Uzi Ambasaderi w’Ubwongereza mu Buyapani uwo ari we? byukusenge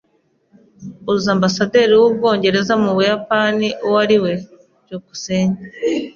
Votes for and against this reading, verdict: 2, 0, accepted